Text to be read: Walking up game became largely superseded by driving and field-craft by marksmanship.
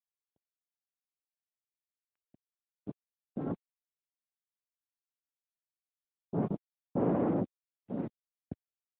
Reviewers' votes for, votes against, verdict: 0, 2, rejected